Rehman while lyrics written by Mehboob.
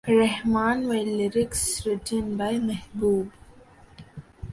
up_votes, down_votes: 0, 2